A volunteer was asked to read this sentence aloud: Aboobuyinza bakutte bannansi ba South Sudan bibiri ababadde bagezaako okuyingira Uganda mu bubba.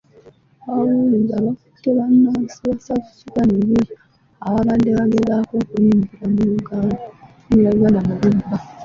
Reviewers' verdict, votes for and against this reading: rejected, 0, 2